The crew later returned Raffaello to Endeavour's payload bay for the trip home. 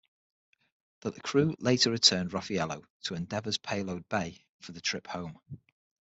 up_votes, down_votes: 6, 3